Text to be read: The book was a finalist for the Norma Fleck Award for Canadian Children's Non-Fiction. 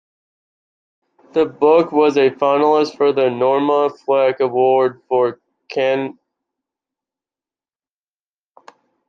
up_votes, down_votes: 0, 2